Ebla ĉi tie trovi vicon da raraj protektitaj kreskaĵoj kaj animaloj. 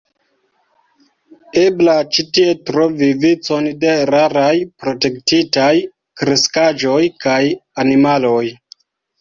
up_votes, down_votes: 1, 2